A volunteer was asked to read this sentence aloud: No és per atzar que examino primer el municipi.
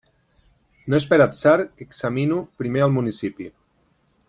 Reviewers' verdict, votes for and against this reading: rejected, 2, 3